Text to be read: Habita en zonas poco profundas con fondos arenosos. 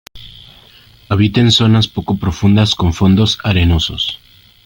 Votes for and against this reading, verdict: 3, 1, accepted